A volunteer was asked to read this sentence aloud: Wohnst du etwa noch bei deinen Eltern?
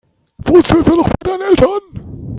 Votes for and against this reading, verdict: 0, 3, rejected